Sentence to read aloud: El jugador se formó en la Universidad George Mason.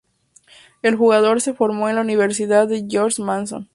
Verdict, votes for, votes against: accepted, 2, 0